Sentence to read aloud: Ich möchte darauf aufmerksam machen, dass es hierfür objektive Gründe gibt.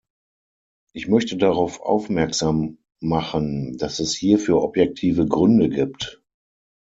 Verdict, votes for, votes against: accepted, 6, 0